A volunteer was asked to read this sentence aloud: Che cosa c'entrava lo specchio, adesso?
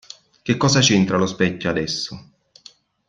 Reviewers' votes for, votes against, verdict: 0, 2, rejected